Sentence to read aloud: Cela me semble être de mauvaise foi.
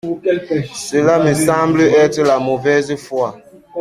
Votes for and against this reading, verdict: 0, 2, rejected